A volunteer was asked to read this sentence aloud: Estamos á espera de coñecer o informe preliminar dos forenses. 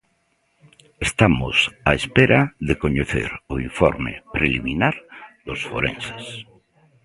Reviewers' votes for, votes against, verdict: 1, 2, rejected